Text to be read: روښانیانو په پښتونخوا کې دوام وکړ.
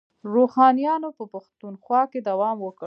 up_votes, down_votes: 2, 0